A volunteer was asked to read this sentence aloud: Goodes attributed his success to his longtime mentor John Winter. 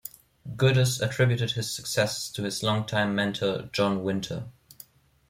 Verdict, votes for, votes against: rejected, 1, 2